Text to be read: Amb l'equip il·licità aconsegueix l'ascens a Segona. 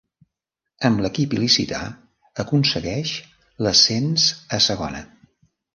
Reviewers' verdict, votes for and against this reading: rejected, 1, 2